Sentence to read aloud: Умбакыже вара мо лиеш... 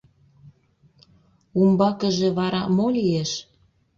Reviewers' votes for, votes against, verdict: 2, 0, accepted